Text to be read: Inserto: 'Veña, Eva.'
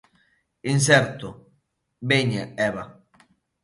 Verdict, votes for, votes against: accepted, 2, 0